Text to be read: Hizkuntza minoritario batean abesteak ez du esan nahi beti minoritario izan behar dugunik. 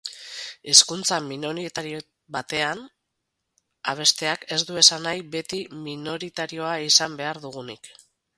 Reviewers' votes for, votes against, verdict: 4, 2, accepted